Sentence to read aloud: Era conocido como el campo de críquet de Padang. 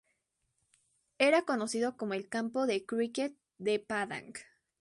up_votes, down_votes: 2, 0